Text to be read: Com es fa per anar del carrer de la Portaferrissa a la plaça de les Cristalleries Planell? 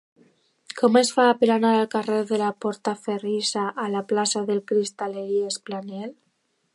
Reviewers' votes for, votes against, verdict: 1, 2, rejected